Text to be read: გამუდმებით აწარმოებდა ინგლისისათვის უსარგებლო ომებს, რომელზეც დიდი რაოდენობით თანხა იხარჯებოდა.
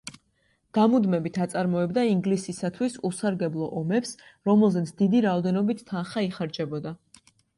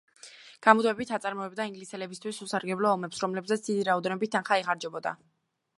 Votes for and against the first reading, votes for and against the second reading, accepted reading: 2, 0, 1, 2, first